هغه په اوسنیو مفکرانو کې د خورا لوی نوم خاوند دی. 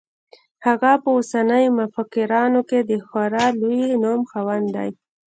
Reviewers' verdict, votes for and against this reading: rejected, 0, 2